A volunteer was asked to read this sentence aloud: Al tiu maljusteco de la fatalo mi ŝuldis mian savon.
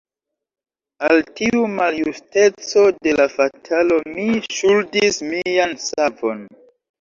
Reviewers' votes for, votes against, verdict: 2, 0, accepted